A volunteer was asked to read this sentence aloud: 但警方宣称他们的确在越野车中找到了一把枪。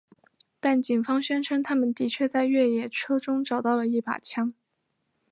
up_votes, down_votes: 2, 0